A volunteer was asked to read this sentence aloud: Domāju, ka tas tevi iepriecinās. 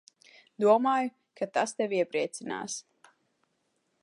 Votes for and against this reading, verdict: 2, 0, accepted